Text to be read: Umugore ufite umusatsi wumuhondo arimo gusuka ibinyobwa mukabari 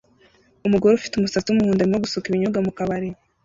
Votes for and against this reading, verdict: 2, 1, accepted